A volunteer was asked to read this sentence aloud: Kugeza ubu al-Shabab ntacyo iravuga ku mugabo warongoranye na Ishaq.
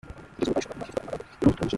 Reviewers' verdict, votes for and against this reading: rejected, 0, 2